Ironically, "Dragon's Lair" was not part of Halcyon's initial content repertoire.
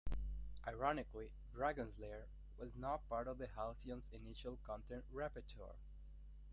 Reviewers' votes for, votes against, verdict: 0, 2, rejected